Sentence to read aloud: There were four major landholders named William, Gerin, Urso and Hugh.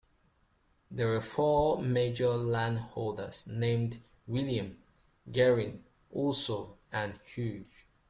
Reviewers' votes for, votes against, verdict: 3, 1, accepted